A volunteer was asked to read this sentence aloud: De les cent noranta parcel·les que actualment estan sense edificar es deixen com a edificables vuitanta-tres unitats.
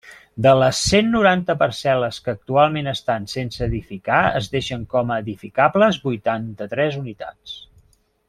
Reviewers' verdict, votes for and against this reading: accepted, 3, 0